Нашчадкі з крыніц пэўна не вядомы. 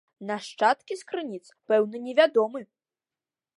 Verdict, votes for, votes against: accepted, 2, 0